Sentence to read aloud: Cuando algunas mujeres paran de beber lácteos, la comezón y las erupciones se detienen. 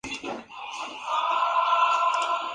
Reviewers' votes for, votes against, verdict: 0, 2, rejected